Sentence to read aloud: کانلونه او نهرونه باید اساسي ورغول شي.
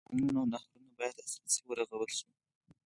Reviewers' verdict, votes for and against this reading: rejected, 2, 4